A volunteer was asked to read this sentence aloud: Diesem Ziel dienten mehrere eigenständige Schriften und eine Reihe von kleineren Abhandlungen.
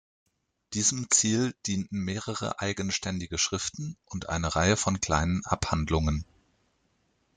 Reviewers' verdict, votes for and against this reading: rejected, 1, 2